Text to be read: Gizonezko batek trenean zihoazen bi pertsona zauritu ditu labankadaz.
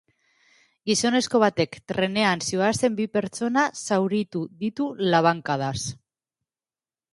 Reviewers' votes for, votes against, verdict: 2, 0, accepted